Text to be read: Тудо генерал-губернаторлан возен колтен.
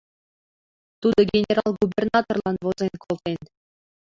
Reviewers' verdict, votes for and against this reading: accepted, 2, 0